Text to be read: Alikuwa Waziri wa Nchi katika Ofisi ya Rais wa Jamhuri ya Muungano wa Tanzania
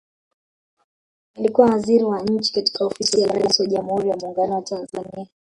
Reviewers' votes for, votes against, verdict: 1, 2, rejected